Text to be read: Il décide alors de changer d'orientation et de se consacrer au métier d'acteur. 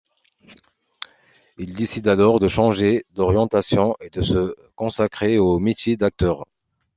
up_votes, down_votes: 2, 0